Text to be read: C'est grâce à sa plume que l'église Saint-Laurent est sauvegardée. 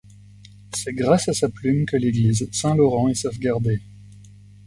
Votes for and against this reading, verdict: 2, 0, accepted